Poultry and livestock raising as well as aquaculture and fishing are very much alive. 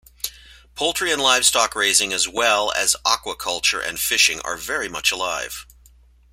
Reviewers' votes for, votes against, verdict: 2, 0, accepted